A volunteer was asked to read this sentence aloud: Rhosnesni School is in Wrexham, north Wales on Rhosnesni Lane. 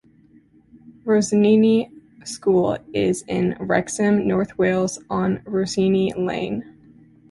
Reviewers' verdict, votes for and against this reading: rejected, 1, 2